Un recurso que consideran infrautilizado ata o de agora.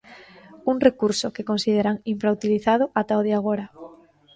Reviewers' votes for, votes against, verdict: 0, 2, rejected